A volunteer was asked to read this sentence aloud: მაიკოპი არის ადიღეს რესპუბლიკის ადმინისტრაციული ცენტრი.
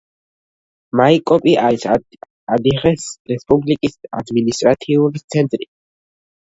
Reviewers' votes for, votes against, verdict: 1, 2, rejected